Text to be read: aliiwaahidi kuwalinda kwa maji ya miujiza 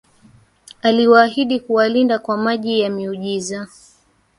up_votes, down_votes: 1, 2